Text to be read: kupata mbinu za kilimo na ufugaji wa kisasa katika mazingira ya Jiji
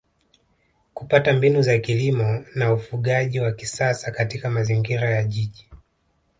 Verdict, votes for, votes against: rejected, 1, 2